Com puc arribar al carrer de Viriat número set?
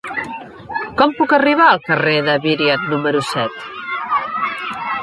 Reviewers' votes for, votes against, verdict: 3, 0, accepted